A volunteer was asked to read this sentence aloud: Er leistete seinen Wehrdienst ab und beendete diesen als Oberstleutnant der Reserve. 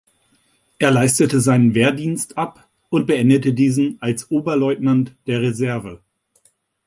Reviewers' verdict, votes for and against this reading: rejected, 0, 2